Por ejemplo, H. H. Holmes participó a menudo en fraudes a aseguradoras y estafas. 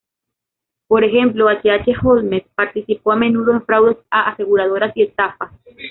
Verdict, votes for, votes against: rejected, 1, 2